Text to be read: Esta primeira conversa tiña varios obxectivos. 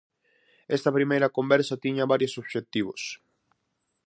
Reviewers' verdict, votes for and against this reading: accepted, 4, 0